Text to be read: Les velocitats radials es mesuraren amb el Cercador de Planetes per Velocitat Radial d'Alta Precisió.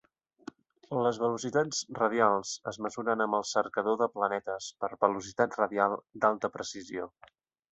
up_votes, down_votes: 1, 2